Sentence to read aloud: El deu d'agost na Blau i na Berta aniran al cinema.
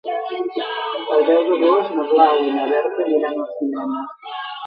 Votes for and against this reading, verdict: 0, 2, rejected